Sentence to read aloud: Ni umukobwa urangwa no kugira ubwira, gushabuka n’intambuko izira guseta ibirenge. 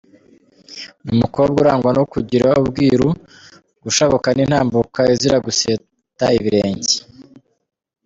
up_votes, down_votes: 2, 0